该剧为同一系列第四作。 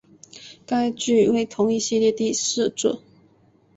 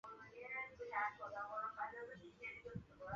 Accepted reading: first